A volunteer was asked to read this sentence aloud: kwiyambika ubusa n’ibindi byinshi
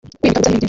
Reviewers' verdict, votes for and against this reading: rejected, 0, 2